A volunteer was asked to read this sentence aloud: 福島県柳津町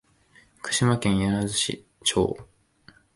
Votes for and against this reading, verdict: 0, 2, rejected